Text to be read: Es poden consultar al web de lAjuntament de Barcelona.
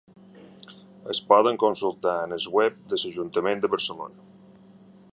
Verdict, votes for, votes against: rejected, 2, 3